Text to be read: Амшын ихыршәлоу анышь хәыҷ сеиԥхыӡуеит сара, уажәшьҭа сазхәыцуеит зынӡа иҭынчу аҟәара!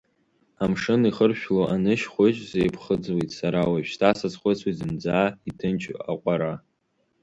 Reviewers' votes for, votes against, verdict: 1, 2, rejected